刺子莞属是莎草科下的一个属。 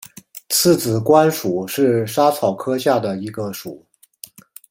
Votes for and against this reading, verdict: 2, 1, accepted